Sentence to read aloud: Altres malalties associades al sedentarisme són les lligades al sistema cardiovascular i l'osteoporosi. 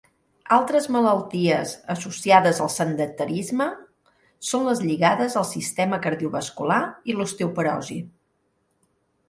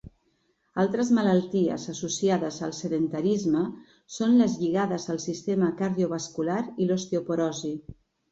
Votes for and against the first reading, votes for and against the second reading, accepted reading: 1, 3, 2, 0, second